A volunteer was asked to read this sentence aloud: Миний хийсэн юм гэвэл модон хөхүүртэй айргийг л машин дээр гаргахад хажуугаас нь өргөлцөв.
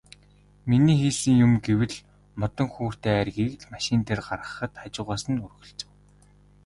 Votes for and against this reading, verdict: 1, 2, rejected